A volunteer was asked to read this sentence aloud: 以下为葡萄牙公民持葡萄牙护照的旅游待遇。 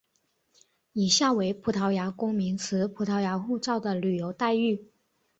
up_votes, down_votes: 2, 0